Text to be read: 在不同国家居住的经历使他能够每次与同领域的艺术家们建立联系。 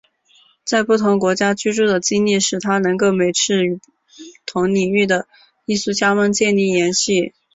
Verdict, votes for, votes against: rejected, 2, 2